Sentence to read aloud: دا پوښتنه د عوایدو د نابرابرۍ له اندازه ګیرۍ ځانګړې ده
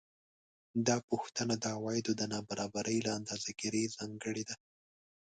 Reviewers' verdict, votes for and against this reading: accepted, 2, 0